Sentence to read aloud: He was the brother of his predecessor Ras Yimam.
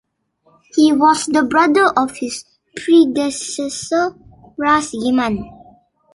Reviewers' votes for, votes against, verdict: 0, 2, rejected